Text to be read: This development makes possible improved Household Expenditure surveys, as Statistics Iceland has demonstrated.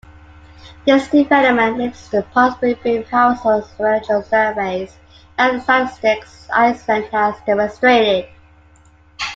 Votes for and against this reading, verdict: 0, 2, rejected